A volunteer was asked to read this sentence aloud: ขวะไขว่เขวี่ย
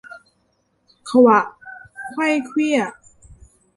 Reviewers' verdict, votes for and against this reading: rejected, 0, 2